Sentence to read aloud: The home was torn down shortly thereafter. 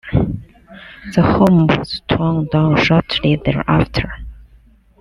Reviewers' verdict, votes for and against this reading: accepted, 2, 0